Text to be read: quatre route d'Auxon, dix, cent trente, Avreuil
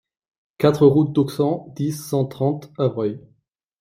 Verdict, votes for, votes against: rejected, 0, 2